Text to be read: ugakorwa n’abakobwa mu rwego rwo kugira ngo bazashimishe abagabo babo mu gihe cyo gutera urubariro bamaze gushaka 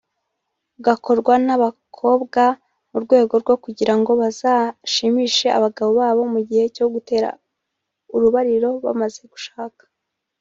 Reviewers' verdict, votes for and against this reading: rejected, 0, 2